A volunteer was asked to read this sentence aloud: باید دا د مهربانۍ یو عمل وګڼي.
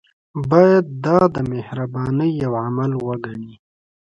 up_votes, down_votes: 2, 1